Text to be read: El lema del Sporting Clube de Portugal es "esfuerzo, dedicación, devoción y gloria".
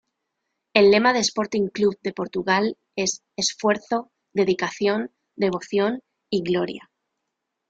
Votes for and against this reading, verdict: 1, 2, rejected